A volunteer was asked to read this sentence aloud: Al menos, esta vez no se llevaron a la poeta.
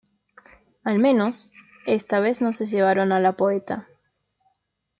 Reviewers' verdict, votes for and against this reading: accepted, 2, 0